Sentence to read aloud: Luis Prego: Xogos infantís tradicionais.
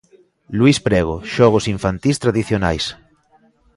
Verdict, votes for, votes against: accepted, 2, 0